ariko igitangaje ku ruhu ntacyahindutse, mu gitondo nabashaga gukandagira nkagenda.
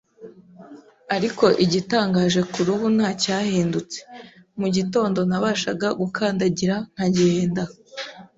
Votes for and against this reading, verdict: 3, 0, accepted